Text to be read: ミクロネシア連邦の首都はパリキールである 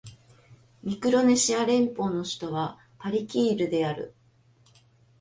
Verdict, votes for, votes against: accepted, 2, 0